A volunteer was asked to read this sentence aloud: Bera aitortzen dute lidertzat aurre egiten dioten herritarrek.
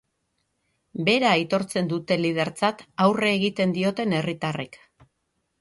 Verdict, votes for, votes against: rejected, 3, 3